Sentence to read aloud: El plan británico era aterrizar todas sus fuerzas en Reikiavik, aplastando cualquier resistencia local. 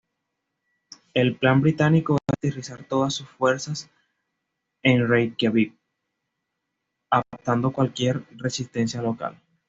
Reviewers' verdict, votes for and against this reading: accepted, 2, 0